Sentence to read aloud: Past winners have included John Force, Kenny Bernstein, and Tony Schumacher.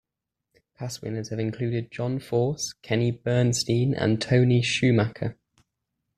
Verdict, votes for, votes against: accepted, 2, 0